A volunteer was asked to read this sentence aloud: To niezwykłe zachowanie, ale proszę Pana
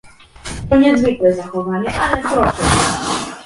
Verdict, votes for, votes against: rejected, 1, 2